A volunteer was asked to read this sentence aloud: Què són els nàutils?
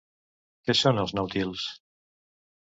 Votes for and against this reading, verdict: 0, 2, rejected